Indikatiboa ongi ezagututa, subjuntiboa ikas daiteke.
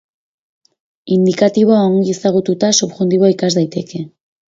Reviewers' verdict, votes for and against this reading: accepted, 2, 0